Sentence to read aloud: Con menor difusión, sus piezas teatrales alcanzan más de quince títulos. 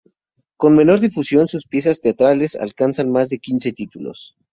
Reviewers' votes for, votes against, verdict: 2, 0, accepted